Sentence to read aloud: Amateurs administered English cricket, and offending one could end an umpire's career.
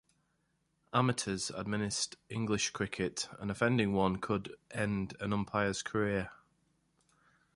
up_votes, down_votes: 2, 0